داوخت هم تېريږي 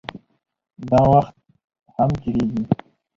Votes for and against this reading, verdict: 0, 2, rejected